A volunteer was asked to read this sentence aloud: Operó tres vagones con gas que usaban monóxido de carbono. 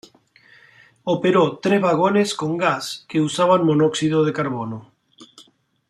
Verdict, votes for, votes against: accepted, 2, 1